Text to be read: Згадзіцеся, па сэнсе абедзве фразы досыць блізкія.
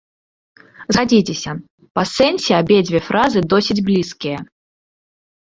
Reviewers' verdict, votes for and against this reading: accepted, 2, 1